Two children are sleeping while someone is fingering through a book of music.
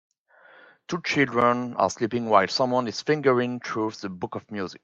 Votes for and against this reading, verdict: 2, 1, accepted